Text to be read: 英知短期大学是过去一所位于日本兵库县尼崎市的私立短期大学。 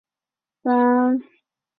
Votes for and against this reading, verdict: 2, 1, accepted